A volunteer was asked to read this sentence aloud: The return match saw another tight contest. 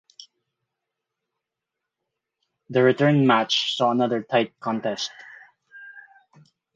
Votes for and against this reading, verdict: 2, 4, rejected